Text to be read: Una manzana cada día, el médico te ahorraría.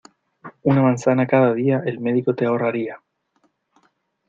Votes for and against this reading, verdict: 2, 0, accepted